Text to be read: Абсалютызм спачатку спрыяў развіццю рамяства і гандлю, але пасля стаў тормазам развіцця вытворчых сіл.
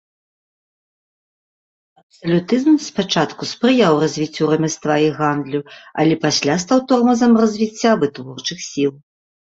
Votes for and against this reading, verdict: 1, 2, rejected